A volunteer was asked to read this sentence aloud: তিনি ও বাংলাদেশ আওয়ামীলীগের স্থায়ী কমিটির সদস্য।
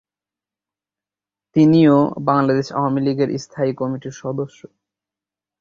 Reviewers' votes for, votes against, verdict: 3, 0, accepted